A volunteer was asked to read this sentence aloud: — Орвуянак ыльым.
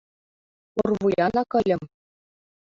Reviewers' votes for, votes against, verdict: 2, 0, accepted